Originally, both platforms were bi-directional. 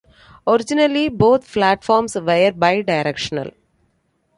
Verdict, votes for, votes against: accepted, 2, 1